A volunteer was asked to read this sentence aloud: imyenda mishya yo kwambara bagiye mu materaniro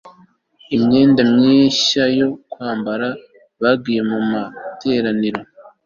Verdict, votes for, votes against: accepted, 2, 0